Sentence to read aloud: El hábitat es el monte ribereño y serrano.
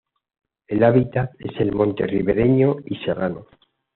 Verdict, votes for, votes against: accepted, 2, 0